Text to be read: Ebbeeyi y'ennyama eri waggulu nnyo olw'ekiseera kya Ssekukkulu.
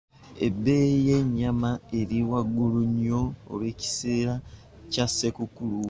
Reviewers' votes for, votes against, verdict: 2, 0, accepted